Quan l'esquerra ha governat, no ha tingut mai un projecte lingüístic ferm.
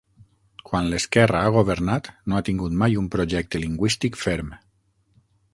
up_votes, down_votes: 9, 0